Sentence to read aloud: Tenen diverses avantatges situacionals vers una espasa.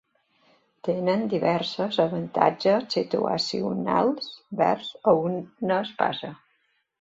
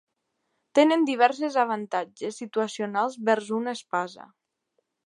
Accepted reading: second